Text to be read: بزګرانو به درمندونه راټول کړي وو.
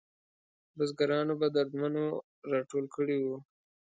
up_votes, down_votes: 2, 1